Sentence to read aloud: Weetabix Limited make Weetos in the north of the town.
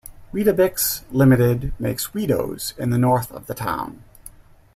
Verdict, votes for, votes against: rejected, 0, 2